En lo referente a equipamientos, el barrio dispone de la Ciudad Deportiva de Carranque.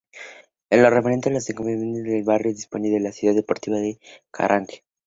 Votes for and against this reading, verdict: 0, 2, rejected